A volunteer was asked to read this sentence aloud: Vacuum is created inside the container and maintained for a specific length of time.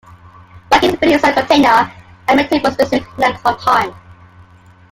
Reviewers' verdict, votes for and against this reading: rejected, 0, 2